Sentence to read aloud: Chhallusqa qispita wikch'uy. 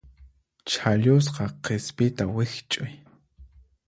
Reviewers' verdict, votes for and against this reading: accepted, 4, 0